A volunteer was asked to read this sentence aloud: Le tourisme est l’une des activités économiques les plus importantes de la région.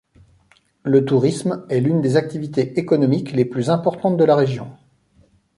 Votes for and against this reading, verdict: 2, 1, accepted